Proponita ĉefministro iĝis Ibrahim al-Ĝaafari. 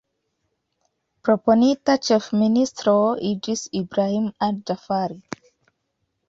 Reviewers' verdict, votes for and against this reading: accepted, 2, 1